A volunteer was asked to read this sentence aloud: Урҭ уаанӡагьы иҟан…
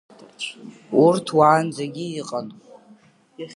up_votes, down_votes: 2, 1